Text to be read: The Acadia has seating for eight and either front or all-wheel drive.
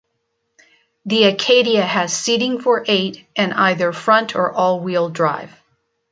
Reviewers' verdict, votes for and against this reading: accepted, 2, 0